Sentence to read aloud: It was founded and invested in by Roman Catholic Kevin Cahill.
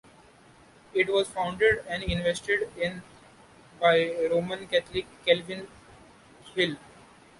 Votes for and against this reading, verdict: 1, 2, rejected